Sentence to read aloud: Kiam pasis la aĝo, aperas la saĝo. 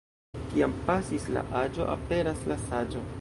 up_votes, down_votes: 1, 2